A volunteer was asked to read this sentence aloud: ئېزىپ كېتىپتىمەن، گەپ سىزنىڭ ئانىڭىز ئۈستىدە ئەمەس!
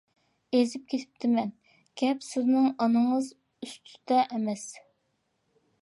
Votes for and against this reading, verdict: 2, 0, accepted